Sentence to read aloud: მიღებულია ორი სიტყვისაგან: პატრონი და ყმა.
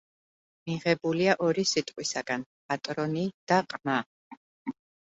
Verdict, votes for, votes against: accepted, 2, 0